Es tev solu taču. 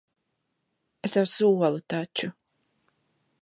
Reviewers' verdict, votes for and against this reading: accepted, 2, 0